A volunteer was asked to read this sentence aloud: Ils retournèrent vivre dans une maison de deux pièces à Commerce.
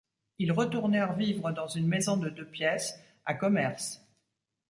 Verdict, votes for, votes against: accepted, 2, 0